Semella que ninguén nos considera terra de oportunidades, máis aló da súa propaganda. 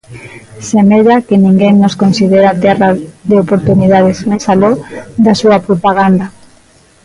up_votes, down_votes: 0, 2